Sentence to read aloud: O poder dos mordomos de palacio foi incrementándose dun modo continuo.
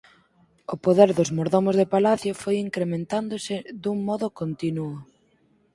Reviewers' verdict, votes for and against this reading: accepted, 4, 2